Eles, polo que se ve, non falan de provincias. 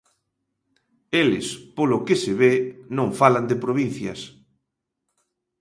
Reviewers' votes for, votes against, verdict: 2, 0, accepted